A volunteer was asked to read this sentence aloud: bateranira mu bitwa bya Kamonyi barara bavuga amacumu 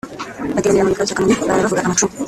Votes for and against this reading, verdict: 0, 2, rejected